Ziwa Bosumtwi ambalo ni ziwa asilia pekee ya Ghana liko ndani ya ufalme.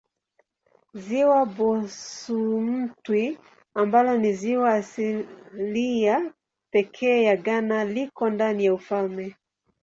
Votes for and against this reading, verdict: 0, 2, rejected